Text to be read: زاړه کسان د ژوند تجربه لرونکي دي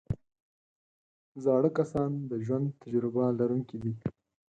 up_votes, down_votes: 4, 0